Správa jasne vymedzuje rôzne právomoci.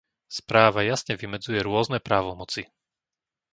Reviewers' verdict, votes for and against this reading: accepted, 2, 0